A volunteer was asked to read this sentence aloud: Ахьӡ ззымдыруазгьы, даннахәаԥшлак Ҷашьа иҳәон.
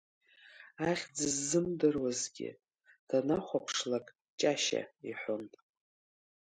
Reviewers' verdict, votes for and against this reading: accepted, 2, 0